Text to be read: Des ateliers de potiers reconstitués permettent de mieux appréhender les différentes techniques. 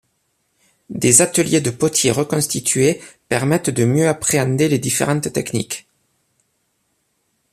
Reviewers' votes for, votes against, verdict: 3, 0, accepted